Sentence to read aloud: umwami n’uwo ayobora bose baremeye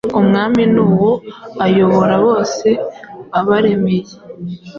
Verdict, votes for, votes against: rejected, 1, 2